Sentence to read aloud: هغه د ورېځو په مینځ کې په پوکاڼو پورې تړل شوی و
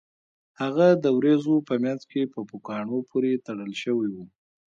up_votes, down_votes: 2, 1